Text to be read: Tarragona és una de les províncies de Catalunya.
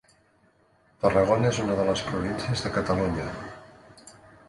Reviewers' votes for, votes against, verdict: 2, 1, accepted